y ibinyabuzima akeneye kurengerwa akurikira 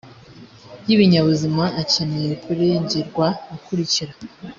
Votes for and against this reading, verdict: 2, 0, accepted